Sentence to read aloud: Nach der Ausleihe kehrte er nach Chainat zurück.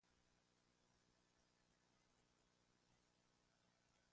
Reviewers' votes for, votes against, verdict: 0, 2, rejected